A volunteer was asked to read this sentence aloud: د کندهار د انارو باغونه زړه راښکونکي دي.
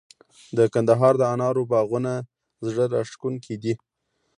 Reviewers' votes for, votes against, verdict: 2, 0, accepted